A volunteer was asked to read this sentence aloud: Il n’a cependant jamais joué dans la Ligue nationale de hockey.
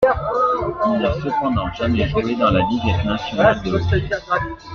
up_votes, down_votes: 0, 2